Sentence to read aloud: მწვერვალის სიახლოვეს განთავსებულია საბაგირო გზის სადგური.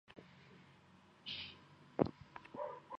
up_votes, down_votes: 1, 2